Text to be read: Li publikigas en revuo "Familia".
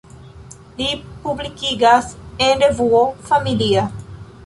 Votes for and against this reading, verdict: 3, 1, accepted